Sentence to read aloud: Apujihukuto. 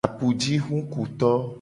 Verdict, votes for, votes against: rejected, 1, 2